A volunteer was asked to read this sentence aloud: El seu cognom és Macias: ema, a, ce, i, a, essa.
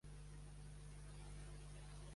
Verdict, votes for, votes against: rejected, 0, 2